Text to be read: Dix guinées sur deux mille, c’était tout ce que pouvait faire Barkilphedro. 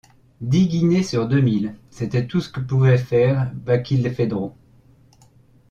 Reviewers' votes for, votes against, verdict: 1, 2, rejected